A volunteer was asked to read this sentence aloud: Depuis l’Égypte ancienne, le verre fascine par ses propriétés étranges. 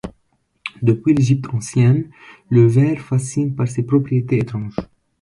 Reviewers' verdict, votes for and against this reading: accepted, 2, 0